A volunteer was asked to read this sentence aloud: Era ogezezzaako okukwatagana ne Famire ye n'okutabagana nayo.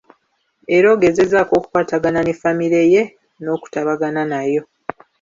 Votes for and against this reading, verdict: 3, 0, accepted